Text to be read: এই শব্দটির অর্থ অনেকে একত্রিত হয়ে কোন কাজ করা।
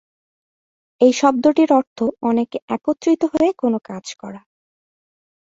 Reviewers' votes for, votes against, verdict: 2, 0, accepted